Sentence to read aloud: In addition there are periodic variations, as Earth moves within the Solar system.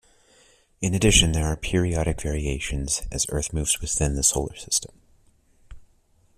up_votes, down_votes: 2, 0